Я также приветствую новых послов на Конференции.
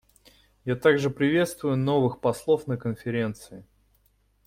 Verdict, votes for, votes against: accepted, 2, 0